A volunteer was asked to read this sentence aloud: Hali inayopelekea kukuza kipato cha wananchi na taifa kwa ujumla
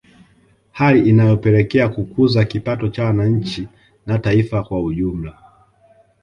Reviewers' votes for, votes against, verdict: 2, 0, accepted